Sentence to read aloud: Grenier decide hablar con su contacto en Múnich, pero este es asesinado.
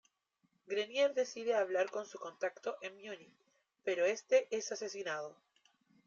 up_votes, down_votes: 0, 2